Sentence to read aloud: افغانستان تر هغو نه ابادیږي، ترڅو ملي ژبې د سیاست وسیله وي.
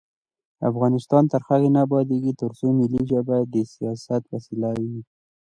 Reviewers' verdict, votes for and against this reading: accepted, 2, 0